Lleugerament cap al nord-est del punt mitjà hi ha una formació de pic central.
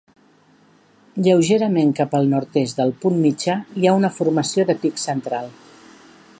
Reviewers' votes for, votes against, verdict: 2, 0, accepted